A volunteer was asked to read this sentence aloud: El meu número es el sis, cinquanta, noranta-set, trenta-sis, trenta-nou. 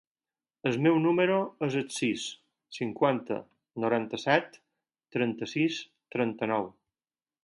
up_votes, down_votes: 4, 0